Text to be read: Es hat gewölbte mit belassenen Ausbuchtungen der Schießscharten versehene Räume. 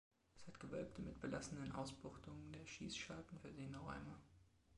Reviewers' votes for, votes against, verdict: 0, 2, rejected